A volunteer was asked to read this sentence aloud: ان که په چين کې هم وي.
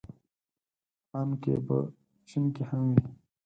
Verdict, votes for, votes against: accepted, 4, 0